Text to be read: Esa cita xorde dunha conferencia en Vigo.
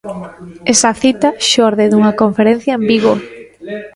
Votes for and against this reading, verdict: 1, 2, rejected